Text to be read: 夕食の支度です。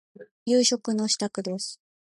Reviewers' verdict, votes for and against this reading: rejected, 1, 2